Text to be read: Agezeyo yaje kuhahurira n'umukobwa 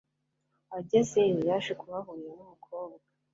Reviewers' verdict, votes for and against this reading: rejected, 1, 2